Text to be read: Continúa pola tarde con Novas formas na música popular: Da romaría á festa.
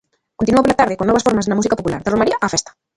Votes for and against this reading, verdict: 0, 2, rejected